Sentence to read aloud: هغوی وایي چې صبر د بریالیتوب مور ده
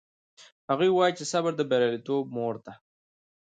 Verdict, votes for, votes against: accepted, 2, 1